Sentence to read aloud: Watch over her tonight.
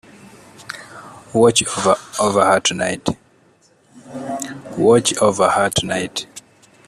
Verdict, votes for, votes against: rejected, 0, 2